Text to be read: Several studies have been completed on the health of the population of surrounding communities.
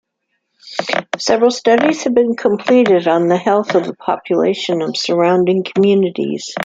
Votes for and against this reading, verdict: 2, 0, accepted